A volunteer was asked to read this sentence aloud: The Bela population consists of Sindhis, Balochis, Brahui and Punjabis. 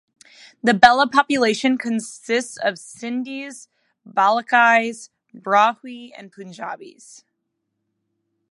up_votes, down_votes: 0, 2